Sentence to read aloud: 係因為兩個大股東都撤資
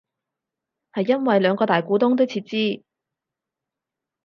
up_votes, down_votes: 4, 0